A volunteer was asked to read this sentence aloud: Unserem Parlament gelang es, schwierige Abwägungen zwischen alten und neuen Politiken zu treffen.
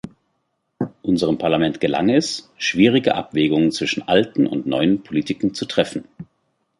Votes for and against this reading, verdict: 2, 0, accepted